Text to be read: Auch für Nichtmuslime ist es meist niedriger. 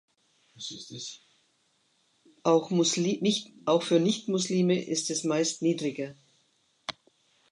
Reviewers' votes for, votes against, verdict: 1, 2, rejected